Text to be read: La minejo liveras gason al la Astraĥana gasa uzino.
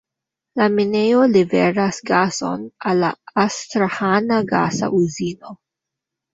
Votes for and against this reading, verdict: 2, 0, accepted